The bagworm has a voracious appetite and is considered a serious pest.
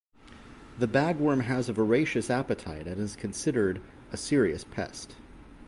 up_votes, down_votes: 2, 0